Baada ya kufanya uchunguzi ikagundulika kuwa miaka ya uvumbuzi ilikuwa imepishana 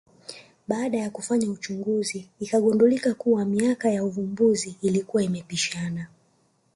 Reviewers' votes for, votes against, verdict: 1, 2, rejected